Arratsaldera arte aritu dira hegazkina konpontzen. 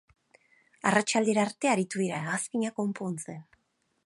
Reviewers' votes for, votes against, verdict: 6, 0, accepted